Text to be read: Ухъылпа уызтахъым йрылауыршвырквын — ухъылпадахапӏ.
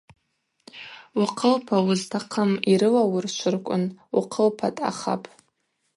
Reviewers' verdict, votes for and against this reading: rejected, 2, 2